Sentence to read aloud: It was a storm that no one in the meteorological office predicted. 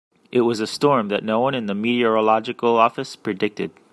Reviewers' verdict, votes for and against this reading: accepted, 2, 0